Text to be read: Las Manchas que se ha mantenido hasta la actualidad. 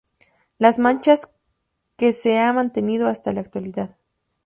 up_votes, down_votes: 2, 0